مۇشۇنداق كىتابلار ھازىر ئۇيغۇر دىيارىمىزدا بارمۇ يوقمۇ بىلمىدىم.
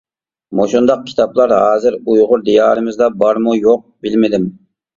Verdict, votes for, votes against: rejected, 1, 2